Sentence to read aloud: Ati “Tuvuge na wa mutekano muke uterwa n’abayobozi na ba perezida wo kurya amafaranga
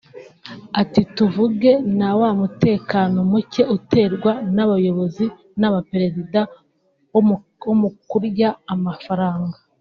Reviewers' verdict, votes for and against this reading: rejected, 0, 3